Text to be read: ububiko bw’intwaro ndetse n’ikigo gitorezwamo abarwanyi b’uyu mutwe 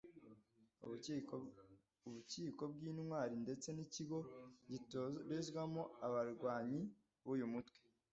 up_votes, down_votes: 0, 2